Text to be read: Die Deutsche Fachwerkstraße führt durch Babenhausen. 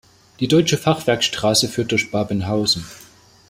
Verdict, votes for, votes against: accepted, 2, 0